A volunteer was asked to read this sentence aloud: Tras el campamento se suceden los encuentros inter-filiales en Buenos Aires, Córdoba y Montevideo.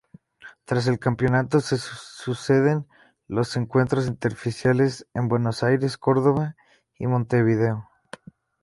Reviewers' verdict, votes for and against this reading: rejected, 0, 4